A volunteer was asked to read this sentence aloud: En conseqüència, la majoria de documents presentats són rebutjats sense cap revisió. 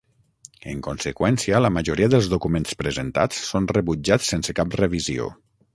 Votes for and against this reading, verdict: 0, 6, rejected